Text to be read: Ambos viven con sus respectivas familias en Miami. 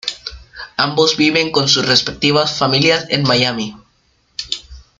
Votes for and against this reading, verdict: 1, 2, rejected